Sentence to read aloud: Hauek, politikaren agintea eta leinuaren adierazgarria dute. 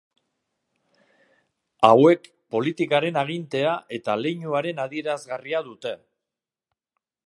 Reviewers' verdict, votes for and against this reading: accepted, 2, 0